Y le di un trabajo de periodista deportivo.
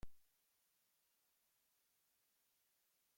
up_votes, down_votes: 0, 2